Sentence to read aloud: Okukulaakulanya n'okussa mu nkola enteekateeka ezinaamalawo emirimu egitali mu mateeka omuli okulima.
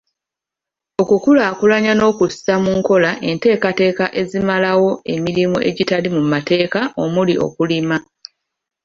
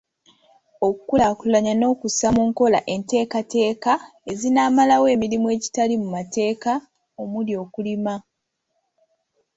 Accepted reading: second